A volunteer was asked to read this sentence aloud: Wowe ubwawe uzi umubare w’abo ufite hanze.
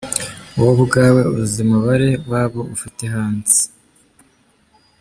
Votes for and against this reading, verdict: 0, 2, rejected